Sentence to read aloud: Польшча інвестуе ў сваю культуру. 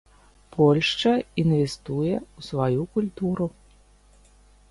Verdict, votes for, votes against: accepted, 2, 0